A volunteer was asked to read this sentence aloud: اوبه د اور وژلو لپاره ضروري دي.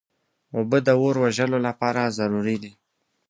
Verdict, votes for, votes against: accepted, 2, 0